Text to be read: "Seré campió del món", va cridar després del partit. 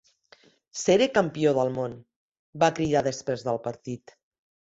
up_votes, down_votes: 2, 0